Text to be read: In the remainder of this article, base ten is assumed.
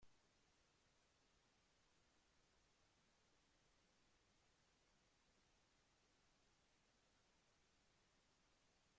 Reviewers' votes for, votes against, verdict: 0, 2, rejected